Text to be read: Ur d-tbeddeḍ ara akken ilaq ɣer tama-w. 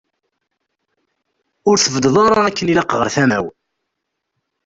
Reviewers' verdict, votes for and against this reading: rejected, 1, 2